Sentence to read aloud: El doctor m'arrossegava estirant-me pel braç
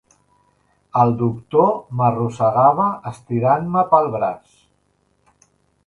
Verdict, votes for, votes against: accepted, 2, 0